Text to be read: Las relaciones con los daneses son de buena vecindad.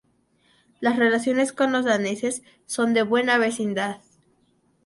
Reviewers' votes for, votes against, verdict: 0, 2, rejected